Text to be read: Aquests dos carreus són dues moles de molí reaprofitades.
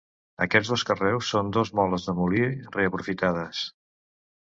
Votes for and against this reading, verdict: 1, 2, rejected